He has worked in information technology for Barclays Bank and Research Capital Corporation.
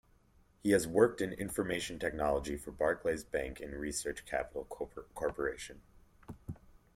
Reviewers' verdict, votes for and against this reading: rejected, 0, 2